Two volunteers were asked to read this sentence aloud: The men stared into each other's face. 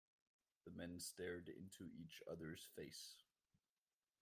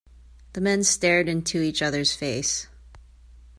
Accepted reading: second